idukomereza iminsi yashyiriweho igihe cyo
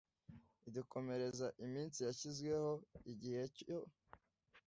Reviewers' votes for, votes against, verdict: 2, 1, accepted